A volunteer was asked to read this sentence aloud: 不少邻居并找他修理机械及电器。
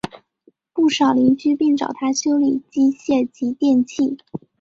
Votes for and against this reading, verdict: 4, 0, accepted